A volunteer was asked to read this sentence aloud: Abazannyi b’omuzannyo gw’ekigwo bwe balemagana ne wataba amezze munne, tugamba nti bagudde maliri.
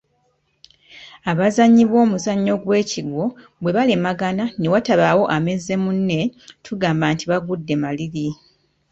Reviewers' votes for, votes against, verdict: 2, 1, accepted